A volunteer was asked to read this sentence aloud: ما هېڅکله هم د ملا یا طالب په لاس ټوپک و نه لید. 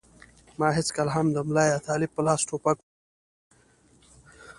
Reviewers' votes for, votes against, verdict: 1, 2, rejected